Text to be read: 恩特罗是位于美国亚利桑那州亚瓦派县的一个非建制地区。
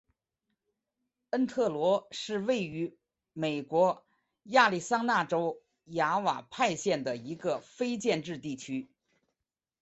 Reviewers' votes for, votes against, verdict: 5, 0, accepted